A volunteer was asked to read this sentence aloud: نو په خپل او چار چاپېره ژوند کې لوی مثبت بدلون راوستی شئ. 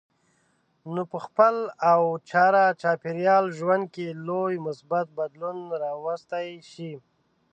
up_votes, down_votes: 2, 0